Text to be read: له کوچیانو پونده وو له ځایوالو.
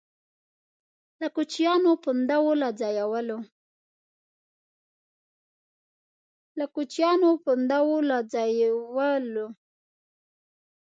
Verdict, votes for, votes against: rejected, 1, 2